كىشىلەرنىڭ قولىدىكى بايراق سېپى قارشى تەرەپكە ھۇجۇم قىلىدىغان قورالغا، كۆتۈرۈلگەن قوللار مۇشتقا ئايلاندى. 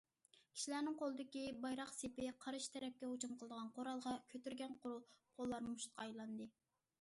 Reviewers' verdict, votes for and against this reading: rejected, 0, 2